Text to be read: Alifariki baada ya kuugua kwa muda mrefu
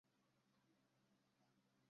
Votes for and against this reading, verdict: 0, 2, rejected